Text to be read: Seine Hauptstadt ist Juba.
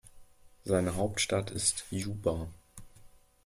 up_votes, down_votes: 2, 0